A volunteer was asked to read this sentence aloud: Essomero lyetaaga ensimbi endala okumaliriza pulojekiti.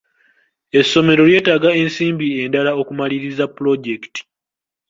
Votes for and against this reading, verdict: 2, 1, accepted